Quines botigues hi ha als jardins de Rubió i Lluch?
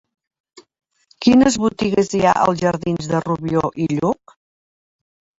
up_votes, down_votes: 3, 0